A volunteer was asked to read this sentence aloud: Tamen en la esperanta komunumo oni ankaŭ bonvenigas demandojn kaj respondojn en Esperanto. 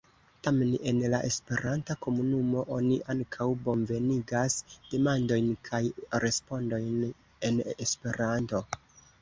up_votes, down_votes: 1, 2